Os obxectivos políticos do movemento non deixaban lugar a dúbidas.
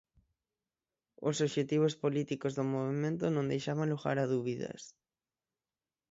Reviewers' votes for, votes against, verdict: 0, 6, rejected